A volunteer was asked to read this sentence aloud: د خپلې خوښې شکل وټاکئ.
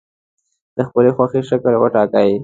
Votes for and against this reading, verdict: 2, 0, accepted